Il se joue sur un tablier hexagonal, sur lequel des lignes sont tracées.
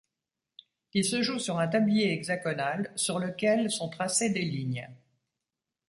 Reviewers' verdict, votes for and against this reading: rejected, 0, 2